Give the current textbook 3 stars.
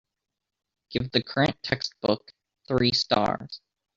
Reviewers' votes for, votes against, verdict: 0, 2, rejected